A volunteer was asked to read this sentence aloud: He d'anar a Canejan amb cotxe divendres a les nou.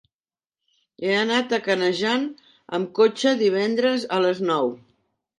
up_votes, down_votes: 0, 2